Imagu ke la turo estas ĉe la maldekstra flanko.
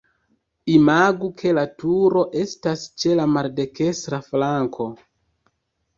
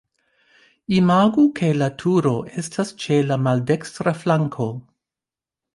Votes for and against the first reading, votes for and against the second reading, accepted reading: 0, 2, 2, 1, second